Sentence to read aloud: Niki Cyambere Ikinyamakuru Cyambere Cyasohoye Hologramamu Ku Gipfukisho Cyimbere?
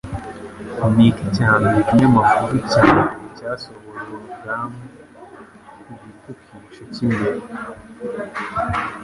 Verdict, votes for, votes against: rejected, 1, 2